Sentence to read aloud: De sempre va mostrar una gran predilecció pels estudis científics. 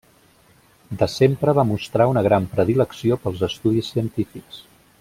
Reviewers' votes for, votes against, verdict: 0, 2, rejected